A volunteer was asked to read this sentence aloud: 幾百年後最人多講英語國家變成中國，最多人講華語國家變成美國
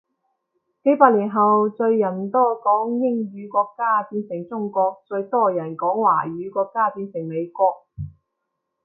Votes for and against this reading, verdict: 2, 0, accepted